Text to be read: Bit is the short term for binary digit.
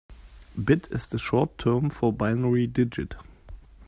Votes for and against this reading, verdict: 2, 0, accepted